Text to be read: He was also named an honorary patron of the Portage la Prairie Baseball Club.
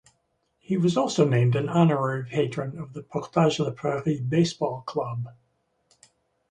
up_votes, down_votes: 2, 0